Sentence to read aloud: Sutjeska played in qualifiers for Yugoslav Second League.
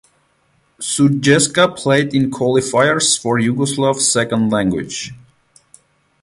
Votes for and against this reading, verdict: 0, 4, rejected